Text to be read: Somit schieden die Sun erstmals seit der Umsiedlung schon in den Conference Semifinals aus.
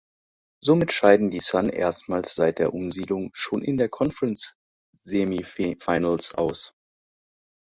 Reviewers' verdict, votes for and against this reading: rejected, 0, 2